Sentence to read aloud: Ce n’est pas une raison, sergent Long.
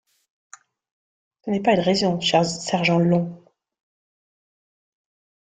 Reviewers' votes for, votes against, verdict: 0, 2, rejected